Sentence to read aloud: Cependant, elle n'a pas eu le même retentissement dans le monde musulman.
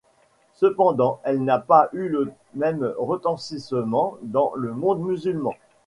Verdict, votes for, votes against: rejected, 0, 2